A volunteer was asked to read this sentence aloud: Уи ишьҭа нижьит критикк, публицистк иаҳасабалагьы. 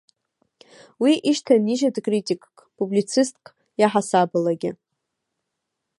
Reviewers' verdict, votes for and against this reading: rejected, 1, 2